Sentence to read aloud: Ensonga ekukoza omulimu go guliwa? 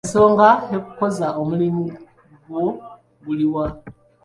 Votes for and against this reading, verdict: 0, 2, rejected